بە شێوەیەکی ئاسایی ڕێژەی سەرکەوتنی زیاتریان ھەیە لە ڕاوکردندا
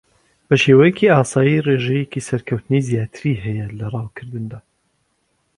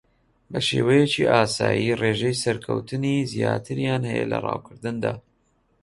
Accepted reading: second